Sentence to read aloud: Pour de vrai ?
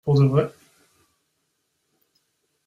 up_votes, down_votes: 2, 0